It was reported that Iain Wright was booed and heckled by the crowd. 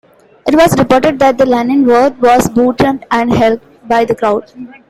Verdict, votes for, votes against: rejected, 1, 2